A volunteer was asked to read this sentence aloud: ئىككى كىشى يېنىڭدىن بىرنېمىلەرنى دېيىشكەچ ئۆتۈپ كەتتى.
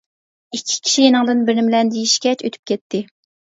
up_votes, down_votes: 1, 2